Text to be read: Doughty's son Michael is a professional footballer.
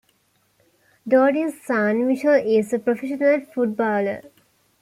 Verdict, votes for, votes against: accepted, 2, 1